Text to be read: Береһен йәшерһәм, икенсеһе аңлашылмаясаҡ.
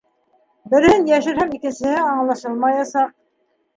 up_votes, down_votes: 1, 2